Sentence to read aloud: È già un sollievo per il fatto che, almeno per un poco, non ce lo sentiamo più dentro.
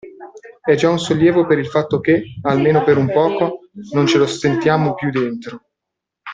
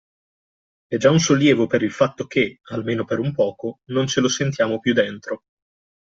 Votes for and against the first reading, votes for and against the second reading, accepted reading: 0, 2, 2, 0, second